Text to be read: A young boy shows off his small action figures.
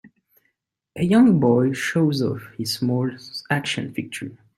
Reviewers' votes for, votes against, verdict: 2, 5, rejected